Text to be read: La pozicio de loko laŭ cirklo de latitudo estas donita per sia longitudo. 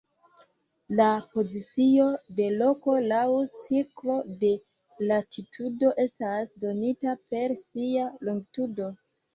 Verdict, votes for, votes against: rejected, 0, 2